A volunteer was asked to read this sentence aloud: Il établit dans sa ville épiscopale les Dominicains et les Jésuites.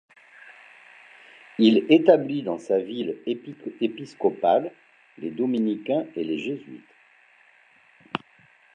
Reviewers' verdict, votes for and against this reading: rejected, 1, 2